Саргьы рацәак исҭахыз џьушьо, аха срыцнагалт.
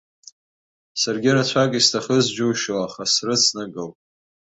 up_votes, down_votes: 2, 0